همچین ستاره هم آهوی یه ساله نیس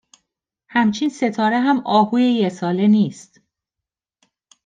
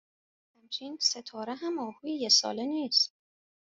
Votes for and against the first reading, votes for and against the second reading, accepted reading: 2, 0, 1, 2, first